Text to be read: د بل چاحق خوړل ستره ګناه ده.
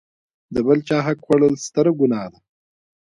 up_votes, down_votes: 0, 2